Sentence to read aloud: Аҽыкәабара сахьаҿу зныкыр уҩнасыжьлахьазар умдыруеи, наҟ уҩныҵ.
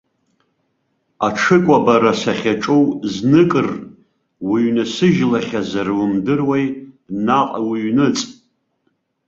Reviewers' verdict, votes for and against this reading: rejected, 1, 2